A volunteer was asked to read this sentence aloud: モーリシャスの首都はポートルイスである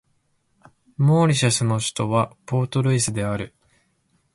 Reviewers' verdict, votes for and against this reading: accepted, 2, 0